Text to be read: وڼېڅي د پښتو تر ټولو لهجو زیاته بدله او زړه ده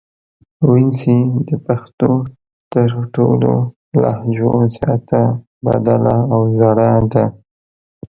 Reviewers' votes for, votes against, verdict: 0, 2, rejected